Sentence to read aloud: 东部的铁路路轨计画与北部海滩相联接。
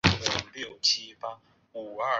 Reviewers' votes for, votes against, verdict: 0, 3, rejected